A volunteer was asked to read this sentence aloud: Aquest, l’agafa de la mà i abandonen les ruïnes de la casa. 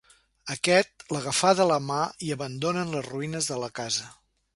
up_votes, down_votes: 0, 2